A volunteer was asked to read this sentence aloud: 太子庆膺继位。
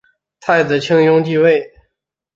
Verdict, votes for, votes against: accepted, 2, 0